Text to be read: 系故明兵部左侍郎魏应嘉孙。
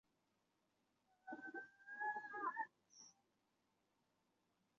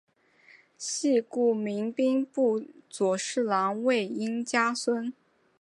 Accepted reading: second